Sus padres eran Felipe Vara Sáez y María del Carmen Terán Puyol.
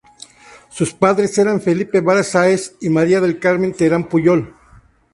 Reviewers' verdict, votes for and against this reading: accepted, 2, 0